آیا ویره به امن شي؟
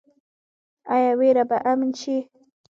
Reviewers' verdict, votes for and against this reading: accepted, 2, 0